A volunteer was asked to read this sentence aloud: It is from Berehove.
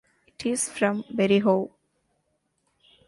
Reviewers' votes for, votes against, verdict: 2, 0, accepted